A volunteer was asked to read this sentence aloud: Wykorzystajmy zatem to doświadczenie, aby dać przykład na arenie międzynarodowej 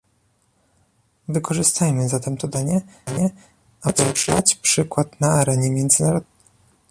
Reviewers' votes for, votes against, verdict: 0, 2, rejected